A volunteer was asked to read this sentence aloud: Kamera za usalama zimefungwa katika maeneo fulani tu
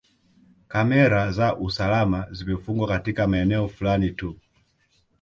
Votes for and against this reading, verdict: 0, 2, rejected